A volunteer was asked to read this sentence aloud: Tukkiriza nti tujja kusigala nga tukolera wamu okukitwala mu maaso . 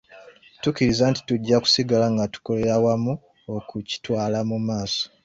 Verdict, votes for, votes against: accepted, 2, 0